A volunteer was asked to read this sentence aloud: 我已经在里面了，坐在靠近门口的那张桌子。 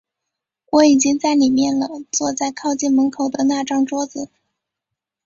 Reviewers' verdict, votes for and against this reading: accepted, 3, 0